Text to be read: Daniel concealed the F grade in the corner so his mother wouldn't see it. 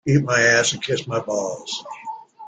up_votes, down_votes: 0, 2